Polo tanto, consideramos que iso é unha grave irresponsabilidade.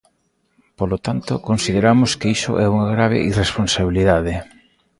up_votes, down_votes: 2, 0